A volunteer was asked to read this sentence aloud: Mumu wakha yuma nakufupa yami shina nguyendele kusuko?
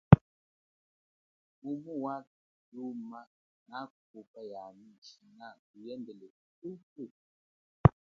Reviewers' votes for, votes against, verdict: 1, 3, rejected